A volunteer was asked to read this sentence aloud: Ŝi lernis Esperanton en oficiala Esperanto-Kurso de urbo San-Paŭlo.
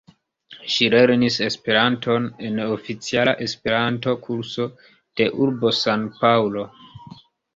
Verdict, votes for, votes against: accepted, 2, 0